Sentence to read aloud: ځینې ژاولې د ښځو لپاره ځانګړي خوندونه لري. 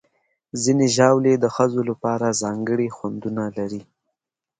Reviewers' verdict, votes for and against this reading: accepted, 2, 0